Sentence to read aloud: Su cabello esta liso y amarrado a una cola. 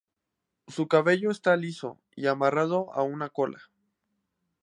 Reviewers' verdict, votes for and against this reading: accepted, 4, 0